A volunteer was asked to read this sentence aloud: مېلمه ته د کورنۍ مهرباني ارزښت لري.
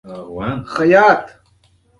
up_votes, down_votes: 0, 2